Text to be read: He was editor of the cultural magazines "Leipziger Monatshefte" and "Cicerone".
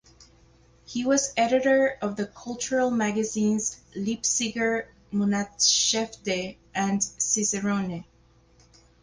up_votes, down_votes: 4, 0